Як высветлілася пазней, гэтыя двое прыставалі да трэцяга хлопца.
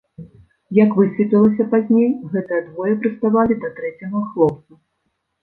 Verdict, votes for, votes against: rejected, 1, 2